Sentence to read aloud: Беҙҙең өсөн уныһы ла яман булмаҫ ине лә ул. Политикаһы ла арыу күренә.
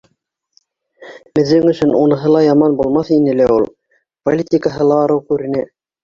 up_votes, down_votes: 1, 2